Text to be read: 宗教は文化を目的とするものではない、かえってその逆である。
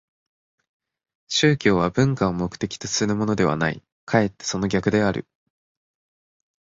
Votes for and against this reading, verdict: 4, 0, accepted